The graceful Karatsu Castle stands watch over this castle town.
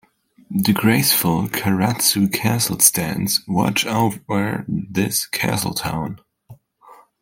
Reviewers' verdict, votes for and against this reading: accepted, 2, 0